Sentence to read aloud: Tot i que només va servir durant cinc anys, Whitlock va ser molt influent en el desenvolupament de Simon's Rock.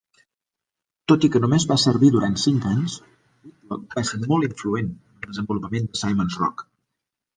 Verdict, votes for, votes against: rejected, 0, 2